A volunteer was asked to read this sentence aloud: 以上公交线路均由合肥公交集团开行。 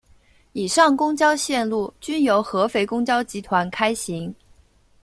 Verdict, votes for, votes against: accepted, 2, 0